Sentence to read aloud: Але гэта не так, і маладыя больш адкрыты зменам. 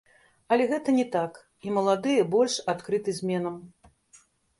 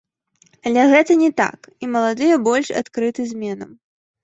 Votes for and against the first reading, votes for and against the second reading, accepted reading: 1, 2, 2, 0, second